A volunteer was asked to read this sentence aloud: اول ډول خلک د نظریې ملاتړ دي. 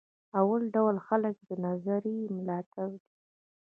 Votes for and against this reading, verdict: 0, 2, rejected